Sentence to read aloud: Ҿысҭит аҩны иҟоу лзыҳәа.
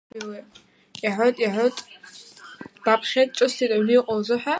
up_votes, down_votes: 0, 2